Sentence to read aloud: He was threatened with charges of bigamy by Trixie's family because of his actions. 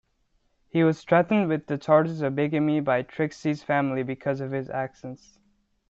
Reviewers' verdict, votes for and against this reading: rejected, 0, 2